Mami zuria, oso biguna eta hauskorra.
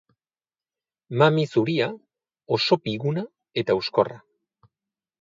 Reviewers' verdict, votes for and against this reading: rejected, 2, 2